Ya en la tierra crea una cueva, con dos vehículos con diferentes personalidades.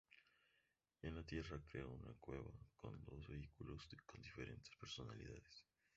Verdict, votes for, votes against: rejected, 0, 2